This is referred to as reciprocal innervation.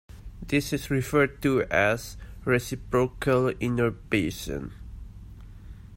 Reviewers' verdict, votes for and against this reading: rejected, 1, 2